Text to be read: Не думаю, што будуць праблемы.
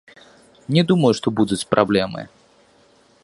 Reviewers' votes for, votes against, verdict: 2, 0, accepted